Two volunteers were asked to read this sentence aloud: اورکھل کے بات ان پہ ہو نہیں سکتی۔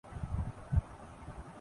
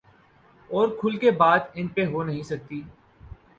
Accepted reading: second